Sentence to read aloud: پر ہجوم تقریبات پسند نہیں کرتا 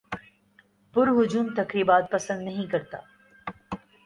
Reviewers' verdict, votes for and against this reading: accepted, 5, 0